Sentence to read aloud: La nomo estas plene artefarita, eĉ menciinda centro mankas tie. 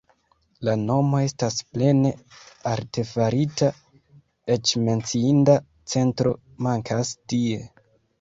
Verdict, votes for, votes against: rejected, 0, 2